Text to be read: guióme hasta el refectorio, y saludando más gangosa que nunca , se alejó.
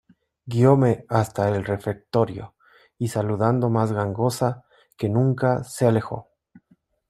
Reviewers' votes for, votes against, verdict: 2, 0, accepted